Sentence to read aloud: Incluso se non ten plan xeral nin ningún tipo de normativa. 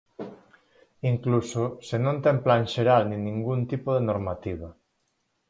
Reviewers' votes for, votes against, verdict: 4, 0, accepted